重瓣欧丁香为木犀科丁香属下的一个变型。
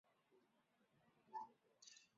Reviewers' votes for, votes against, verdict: 1, 3, rejected